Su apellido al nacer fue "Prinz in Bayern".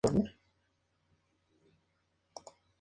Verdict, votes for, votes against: rejected, 0, 4